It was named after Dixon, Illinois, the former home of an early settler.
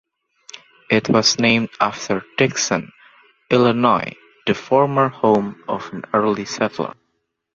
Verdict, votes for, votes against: accepted, 2, 0